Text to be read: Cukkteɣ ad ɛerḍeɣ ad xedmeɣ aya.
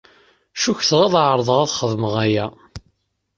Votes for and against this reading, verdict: 2, 0, accepted